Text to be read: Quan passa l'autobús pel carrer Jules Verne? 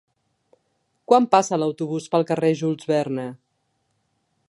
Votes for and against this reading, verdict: 2, 0, accepted